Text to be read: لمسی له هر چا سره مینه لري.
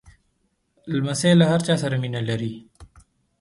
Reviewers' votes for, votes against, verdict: 2, 0, accepted